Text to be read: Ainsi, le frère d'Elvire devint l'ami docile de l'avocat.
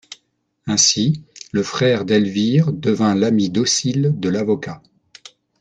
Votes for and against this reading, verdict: 2, 0, accepted